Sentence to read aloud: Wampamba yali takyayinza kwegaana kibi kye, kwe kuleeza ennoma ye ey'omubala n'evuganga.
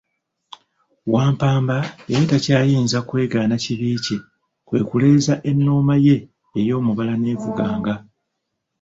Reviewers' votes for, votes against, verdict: 1, 2, rejected